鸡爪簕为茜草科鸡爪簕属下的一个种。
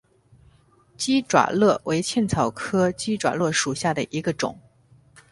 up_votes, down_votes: 2, 0